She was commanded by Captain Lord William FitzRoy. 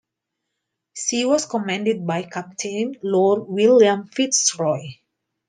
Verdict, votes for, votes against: accepted, 2, 0